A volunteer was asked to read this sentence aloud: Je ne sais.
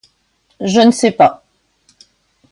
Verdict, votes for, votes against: rejected, 1, 2